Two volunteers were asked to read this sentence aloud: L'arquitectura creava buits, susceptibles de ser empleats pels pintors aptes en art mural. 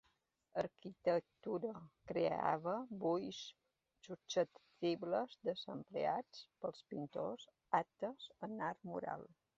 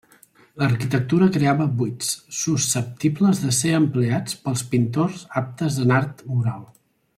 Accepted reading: second